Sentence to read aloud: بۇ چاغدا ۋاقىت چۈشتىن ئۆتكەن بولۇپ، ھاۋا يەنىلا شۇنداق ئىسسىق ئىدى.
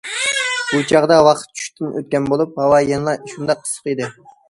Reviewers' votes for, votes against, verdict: 2, 0, accepted